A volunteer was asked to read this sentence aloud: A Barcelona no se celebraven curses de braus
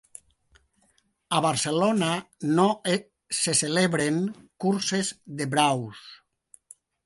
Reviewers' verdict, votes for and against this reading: rejected, 0, 2